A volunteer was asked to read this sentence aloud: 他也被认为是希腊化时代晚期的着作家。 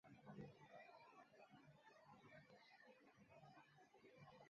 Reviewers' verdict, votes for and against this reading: rejected, 0, 2